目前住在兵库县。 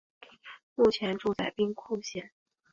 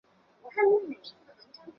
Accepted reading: first